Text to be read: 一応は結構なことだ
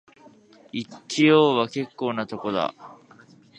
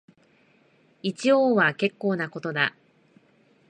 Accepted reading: second